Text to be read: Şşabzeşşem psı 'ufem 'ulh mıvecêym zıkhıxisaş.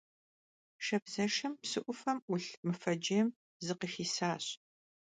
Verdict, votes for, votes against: accepted, 2, 0